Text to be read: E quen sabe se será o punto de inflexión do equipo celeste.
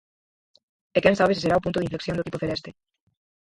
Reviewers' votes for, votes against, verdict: 0, 4, rejected